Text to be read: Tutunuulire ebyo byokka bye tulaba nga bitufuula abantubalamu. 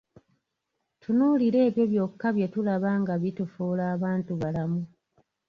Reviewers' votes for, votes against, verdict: 2, 0, accepted